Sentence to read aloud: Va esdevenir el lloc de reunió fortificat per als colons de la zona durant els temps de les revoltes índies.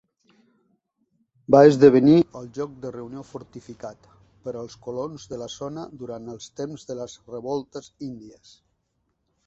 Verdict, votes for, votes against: accepted, 3, 0